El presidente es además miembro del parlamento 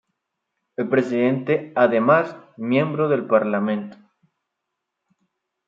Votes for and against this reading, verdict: 1, 2, rejected